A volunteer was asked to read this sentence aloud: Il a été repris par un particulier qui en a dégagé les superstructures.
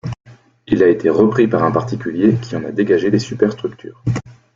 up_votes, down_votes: 2, 1